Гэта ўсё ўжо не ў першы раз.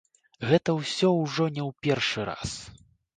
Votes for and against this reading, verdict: 2, 0, accepted